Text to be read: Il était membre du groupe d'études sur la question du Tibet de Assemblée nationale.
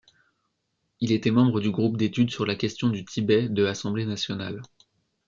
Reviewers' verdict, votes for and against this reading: accepted, 2, 0